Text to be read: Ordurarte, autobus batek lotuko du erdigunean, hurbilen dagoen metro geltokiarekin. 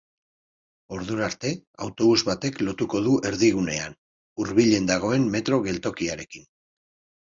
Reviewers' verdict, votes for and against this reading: accepted, 2, 0